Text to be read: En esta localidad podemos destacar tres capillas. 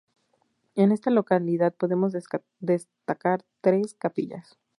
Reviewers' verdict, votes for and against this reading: rejected, 0, 2